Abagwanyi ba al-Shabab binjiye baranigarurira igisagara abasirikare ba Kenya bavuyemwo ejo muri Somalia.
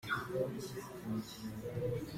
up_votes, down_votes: 0, 2